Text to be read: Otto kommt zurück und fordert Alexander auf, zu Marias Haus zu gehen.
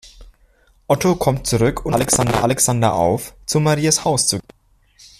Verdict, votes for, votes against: rejected, 0, 2